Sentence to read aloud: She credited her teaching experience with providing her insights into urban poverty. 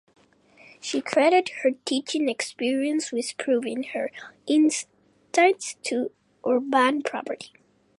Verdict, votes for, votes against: rejected, 0, 3